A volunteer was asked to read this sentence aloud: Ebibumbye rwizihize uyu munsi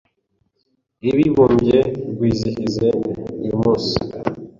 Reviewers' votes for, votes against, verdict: 1, 2, rejected